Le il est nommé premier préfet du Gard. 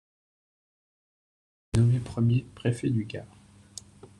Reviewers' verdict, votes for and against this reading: rejected, 1, 2